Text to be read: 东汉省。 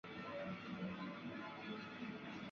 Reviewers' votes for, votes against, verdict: 0, 2, rejected